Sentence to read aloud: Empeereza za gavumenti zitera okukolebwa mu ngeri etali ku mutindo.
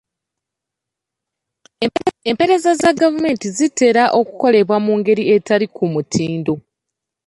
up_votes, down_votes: 0, 2